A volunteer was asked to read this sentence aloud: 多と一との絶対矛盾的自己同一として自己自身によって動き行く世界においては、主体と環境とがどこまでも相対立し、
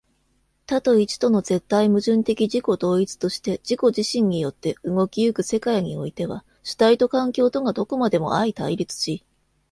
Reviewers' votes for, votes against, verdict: 2, 0, accepted